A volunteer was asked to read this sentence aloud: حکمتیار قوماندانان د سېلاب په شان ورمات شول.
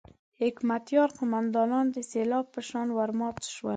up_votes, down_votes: 4, 0